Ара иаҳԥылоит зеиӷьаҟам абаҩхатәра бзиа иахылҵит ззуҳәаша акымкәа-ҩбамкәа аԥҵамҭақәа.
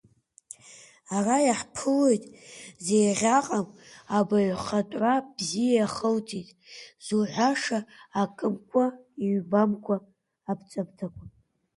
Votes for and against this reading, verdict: 2, 1, accepted